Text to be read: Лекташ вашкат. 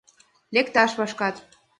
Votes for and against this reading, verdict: 2, 0, accepted